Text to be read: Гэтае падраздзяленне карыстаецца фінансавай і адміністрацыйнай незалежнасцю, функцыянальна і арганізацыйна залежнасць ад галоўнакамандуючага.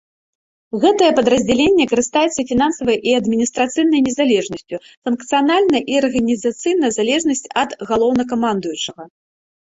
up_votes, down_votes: 1, 2